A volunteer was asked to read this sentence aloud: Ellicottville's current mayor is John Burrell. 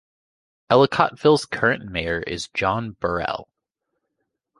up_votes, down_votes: 2, 0